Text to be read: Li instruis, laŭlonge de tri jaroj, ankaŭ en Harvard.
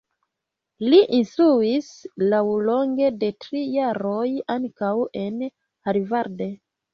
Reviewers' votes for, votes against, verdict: 0, 2, rejected